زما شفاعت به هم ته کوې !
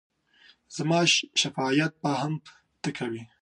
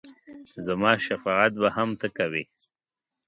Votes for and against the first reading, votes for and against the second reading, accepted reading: 2, 3, 2, 0, second